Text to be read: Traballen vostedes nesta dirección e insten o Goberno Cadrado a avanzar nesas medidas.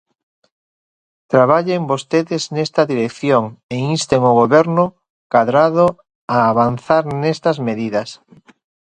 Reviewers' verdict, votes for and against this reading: rejected, 1, 2